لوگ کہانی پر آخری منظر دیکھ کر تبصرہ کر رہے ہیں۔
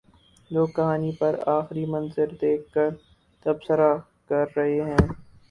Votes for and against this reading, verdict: 0, 2, rejected